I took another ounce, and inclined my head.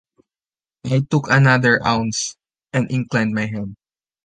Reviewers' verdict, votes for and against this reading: accepted, 2, 0